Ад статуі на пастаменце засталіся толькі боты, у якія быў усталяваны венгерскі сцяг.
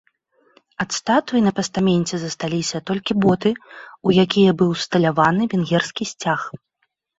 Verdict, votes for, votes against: accepted, 2, 0